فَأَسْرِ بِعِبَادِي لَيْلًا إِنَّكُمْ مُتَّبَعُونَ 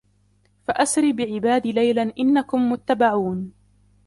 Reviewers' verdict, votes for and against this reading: accepted, 2, 0